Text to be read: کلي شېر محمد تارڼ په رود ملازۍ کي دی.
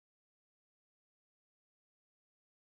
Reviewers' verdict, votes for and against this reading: rejected, 1, 2